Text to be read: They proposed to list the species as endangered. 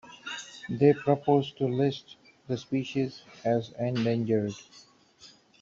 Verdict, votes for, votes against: rejected, 0, 2